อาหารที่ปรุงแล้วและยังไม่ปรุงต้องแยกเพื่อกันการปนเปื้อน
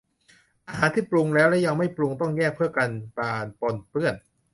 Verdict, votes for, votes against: rejected, 0, 2